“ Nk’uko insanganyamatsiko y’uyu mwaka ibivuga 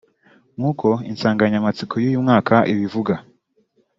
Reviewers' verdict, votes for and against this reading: rejected, 1, 2